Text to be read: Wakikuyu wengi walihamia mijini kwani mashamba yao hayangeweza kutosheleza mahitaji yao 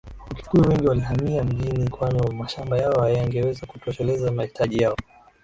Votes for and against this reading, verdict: 3, 3, rejected